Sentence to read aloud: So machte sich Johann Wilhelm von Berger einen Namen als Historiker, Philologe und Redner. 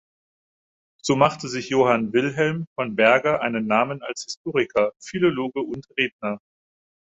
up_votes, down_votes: 4, 0